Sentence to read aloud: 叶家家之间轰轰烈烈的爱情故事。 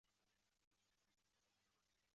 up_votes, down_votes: 0, 2